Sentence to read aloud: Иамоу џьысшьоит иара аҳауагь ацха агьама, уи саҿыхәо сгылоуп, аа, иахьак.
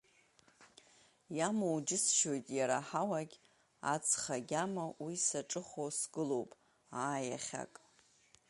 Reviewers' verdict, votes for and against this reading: accepted, 2, 0